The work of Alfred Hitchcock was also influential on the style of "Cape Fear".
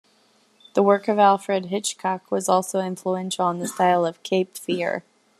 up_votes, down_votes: 2, 0